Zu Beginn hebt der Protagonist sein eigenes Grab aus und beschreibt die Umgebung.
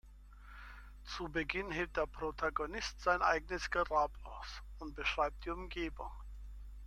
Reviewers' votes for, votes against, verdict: 0, 2, rejected